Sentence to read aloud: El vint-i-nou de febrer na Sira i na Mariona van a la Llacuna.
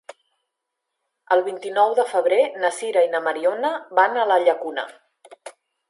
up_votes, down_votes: 3, 0